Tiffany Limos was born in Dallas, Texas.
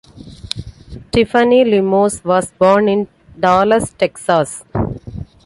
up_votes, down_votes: 2, 0